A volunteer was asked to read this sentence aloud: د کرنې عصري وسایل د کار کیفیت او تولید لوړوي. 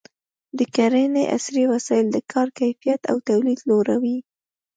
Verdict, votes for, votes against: accepted, 3, 0